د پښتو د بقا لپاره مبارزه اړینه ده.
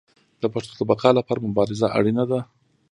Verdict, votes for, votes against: accepted, 2, 0